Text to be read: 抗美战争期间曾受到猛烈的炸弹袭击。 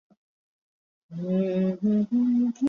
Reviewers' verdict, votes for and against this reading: rejected, 0, 2